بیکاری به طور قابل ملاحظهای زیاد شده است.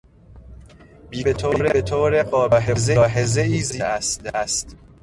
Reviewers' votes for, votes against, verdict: 0, 2, rejected